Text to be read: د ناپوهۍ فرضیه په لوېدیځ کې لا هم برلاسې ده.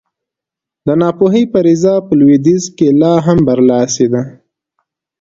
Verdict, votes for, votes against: accepted, 2, 0